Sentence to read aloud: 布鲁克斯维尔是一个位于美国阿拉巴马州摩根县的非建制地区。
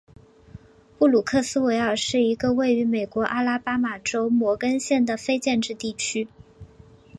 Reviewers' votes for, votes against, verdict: 4, 1, accepted